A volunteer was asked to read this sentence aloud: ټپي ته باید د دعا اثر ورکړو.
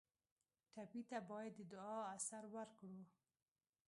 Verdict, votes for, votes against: rejected, 0, 2